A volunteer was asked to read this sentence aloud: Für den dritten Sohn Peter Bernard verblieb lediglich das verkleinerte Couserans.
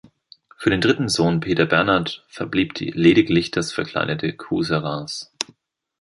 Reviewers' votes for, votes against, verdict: 1, 2, rejected